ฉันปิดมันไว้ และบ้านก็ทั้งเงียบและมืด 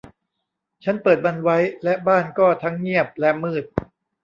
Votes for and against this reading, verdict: 0, 2, rejected